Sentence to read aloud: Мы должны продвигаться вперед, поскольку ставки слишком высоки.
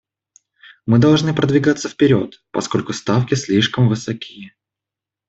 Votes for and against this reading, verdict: 2, 0, accepted